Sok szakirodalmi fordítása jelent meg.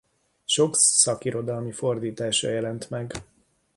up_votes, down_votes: 2, 1